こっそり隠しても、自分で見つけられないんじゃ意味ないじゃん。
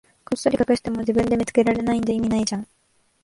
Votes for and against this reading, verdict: 2, 0, accepted